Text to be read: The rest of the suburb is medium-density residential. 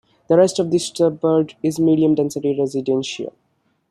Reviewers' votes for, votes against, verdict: 2, 1, accepted